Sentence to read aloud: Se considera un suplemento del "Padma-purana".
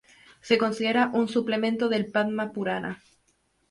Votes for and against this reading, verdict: 2, 0, accepted